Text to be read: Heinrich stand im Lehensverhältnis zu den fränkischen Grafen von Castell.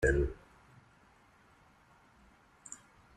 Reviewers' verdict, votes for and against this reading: rejected, 0, 2